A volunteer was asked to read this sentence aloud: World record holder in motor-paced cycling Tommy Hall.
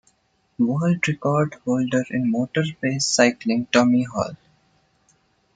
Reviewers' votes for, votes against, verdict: 1, 2, rejected